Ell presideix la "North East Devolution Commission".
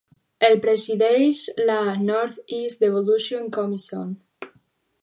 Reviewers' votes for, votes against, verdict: 2, 2, rejected